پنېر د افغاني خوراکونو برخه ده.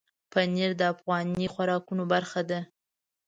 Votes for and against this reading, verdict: 2, 0, accepted